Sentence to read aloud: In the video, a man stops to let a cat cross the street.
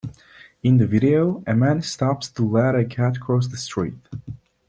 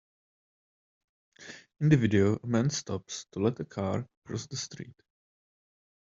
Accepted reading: first